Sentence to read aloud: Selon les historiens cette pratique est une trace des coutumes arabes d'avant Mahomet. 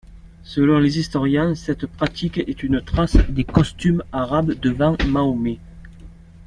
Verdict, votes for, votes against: rejected, 0, 2